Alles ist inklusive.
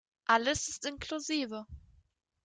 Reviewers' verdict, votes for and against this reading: rejected, 0, 2